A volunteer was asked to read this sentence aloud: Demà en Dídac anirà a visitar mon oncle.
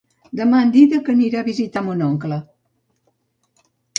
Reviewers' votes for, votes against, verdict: 3, 0, accepted